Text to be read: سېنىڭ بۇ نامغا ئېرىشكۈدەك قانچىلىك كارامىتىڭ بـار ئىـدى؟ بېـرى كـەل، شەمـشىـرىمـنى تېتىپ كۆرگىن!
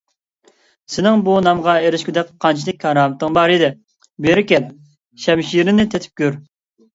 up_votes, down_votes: 2, 0